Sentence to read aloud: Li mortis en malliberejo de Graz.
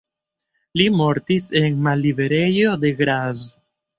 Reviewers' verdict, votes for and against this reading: accepted, 2, 1